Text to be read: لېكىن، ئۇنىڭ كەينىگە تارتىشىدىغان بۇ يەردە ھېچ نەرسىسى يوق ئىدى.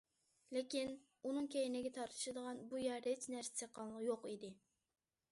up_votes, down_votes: 0, 2